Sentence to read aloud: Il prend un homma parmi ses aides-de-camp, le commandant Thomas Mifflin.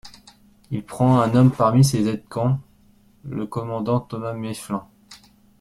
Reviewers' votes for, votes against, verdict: 0, 2, rejected